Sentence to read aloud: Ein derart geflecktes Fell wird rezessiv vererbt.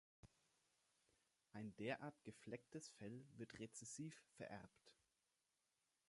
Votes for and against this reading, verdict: 2, 1, accepted